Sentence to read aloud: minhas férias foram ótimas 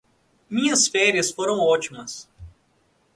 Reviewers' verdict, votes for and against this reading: accepted, 2, 0